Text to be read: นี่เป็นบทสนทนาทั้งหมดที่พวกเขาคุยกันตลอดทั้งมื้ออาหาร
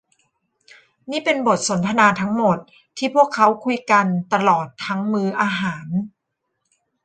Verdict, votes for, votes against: rejected, 1, 2